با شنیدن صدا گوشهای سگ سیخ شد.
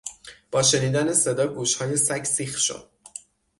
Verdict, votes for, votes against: accepted, 6, 0